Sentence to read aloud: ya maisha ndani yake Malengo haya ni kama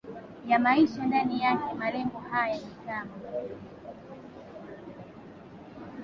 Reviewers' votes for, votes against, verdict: 2, 1, accepted